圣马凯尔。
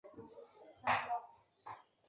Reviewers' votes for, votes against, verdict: 0, 3, rejected